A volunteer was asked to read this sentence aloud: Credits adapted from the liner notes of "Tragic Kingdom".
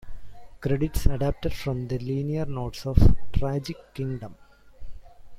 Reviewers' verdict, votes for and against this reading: accepted, 2, 0